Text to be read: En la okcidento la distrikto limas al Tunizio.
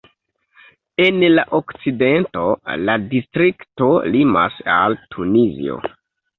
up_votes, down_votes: 1, 2